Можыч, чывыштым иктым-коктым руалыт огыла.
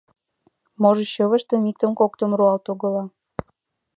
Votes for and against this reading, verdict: 2, 0, accepted